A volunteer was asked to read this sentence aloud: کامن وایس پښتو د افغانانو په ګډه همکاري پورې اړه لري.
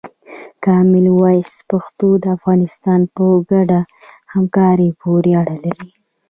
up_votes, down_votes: 2, 1